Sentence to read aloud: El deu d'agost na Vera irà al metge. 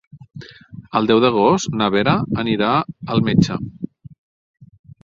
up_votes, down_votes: 0, 2